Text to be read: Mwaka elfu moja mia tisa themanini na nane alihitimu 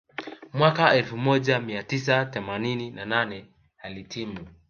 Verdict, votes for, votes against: accepted, 2, 0